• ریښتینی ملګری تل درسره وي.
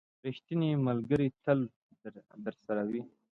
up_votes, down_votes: 2, 0